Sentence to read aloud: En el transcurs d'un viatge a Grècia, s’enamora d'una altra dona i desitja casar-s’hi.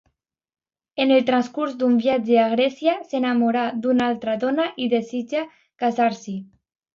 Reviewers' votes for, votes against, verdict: 2, 1, accepted